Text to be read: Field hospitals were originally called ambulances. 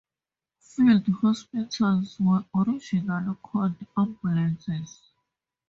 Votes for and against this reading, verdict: 2, 0, accepted